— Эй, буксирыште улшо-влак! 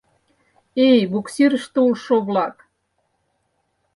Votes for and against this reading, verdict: 4, 0, accepted